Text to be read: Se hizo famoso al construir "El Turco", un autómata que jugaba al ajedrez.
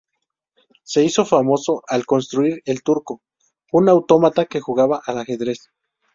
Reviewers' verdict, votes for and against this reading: rejected, 0, 2